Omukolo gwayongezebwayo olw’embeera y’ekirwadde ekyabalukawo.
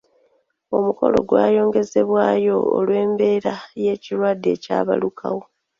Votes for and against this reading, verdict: 0, 2, rejected